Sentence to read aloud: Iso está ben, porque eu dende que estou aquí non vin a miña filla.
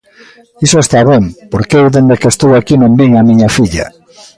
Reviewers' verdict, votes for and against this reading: accepted, 2, 0